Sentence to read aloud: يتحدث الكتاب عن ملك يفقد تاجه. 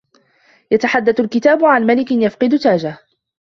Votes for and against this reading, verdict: 2, 0, accepted